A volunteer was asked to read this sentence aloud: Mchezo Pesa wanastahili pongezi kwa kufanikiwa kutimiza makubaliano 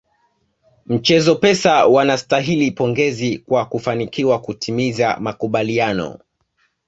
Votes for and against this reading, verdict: 2, 0, accepted